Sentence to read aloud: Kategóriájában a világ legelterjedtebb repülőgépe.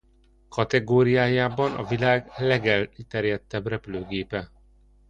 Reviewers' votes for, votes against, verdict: 0, 2, rejected